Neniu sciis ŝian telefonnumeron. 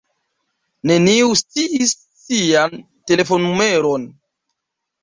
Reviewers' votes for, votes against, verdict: 1, 2, rejected